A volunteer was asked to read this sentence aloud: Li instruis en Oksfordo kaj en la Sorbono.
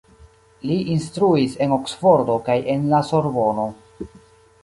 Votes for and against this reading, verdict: 2, 0, accepted